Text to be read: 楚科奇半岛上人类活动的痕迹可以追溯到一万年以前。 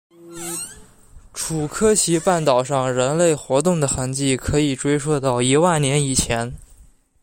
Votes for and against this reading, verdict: 2, 0, accepted